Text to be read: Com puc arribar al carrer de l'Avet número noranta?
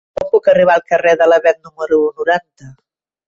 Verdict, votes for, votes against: rejected, 1, 2